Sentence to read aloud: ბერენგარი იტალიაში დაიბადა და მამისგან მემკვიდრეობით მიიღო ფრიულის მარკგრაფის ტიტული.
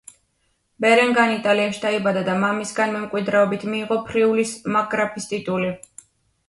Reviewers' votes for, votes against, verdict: 2, 0, accepted